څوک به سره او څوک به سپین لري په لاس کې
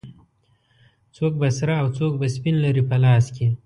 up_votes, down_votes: 2, 1